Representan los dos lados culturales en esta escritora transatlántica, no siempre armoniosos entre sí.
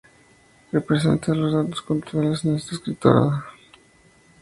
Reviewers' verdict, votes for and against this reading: rejected, 0, 2